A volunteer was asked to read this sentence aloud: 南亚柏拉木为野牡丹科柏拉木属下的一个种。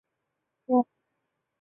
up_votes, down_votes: 0, 2